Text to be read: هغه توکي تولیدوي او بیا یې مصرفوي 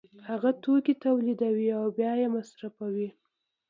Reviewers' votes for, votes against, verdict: 2, 0, accepted